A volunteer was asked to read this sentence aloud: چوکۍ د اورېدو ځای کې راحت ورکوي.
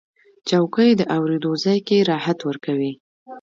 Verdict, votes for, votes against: rejected, 0, 2